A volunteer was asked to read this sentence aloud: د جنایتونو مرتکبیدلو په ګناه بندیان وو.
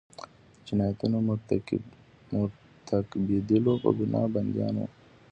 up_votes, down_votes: 0, 2